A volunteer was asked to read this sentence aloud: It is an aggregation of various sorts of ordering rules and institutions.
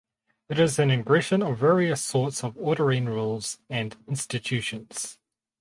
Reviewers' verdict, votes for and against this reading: rejected, 2, 2